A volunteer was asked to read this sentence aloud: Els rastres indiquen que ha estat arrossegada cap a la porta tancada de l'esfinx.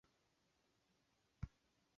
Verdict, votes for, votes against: rejected, 0, 2